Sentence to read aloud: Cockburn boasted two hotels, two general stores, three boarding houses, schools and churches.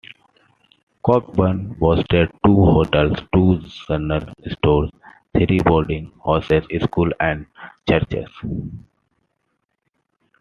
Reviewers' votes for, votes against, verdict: 1, 2, rejected